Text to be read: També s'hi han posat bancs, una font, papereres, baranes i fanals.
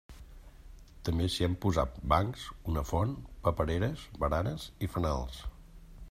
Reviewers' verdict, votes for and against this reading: accepted, 3, 0